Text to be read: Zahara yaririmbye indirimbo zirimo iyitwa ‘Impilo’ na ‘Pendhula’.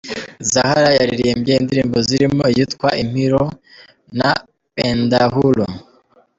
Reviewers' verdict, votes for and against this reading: rejected, 2, 3